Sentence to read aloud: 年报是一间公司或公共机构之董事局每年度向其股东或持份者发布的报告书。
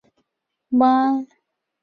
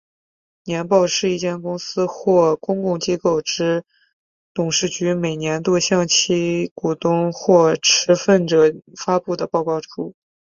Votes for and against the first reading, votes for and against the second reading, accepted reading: 1, 2, 2, 0, second